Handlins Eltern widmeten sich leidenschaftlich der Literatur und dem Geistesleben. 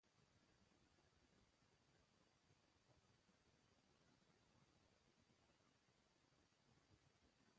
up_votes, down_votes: 0, 2